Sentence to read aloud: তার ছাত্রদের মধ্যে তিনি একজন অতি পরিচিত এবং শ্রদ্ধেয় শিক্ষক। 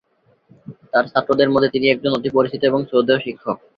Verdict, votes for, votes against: accepted, 2, 1